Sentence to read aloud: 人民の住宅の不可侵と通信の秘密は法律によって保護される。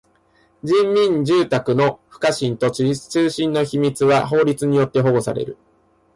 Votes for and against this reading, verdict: 1, 2, rejected